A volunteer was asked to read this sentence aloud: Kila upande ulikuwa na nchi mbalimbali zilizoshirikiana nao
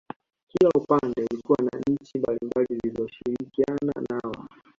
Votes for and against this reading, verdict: 1, 2, rejected